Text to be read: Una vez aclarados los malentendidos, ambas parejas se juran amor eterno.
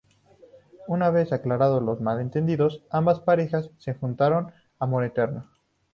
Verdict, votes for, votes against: rejected, 0, 2